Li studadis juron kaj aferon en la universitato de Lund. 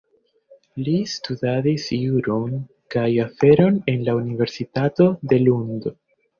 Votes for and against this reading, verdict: 2, 1, accepted